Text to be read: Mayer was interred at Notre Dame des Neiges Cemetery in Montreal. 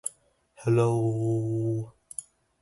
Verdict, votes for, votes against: rejected, 0, 2